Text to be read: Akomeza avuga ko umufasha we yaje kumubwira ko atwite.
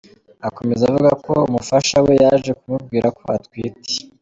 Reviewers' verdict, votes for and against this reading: accepted, 2, 1